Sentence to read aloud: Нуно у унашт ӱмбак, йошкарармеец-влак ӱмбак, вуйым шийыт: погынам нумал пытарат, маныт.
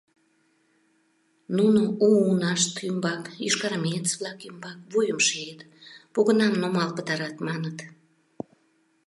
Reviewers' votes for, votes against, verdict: 2, 0, accepted